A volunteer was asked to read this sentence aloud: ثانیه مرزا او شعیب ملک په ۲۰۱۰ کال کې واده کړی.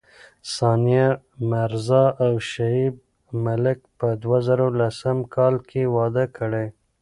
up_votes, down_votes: 0, 2